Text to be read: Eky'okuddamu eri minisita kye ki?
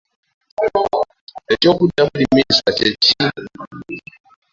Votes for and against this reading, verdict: 1, 2, rejected